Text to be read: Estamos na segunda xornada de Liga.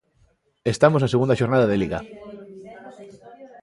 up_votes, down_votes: 0, 2